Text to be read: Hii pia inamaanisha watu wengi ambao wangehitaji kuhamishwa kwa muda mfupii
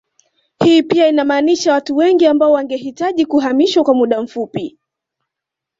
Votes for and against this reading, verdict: 2, 0, accepted